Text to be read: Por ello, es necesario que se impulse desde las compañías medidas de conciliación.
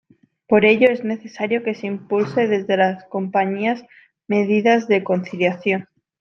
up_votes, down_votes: 2, 0